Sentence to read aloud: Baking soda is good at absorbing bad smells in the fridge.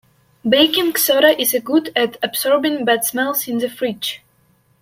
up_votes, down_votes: 1, 2